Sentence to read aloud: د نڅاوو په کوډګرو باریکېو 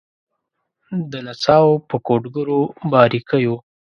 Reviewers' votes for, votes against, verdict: 2, 0, accepted